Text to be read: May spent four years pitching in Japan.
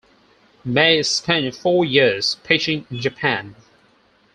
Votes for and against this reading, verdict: 4, 0, accepted